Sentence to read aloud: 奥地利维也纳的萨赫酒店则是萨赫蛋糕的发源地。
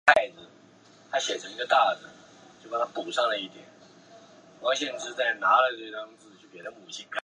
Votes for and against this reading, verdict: 0, 2, rejected